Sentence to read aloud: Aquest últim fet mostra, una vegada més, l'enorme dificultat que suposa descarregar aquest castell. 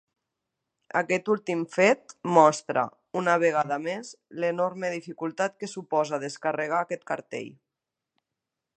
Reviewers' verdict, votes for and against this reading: rejected, 1, 4